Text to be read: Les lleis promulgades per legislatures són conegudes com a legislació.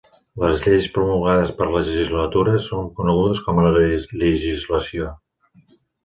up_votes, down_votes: 1, 2